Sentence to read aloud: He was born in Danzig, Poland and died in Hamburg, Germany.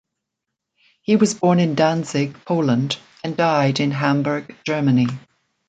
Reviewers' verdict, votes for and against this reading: accepted, 2, 0